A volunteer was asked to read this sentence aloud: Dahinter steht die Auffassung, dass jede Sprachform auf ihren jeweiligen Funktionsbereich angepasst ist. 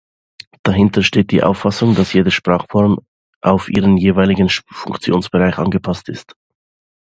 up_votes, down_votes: 2, 0